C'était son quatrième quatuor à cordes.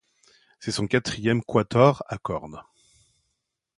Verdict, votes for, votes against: rejected, 0, 2